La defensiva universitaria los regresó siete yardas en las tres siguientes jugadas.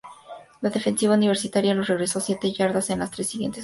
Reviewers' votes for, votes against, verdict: 0, 2, rejected